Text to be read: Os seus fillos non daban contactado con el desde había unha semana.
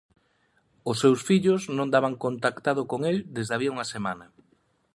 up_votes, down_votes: 2, 0